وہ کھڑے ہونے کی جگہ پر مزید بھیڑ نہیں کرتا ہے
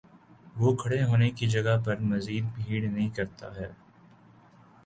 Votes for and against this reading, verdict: 2, 0, accepted